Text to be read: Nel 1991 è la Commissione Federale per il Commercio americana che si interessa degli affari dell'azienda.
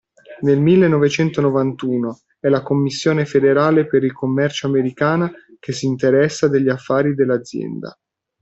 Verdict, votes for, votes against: rejected, 0, 2